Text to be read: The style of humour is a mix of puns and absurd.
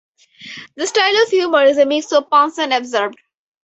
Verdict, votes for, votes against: accepted, 4, 0